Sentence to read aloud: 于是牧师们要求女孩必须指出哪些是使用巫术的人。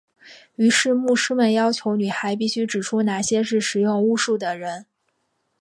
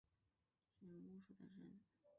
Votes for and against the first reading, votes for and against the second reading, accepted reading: 7, 0, 0, 2, first